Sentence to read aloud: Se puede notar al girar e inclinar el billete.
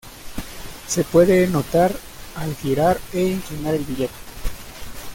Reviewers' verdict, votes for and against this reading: rejected, 0, 2